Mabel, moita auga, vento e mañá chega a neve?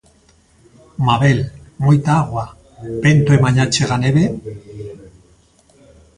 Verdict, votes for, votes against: rejected, 0, 2